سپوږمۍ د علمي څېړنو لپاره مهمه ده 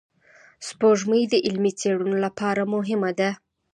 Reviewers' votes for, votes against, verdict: 2, 0, accepted